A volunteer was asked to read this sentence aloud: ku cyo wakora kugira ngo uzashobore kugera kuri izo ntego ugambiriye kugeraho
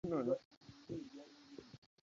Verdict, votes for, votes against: rejected, 0, 2